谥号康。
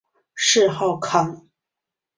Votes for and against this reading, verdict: 2, 0, accepted